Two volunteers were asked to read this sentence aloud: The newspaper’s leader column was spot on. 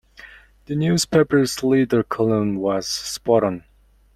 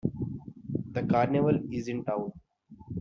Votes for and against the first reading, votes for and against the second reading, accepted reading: 2, 0, 0, 2, first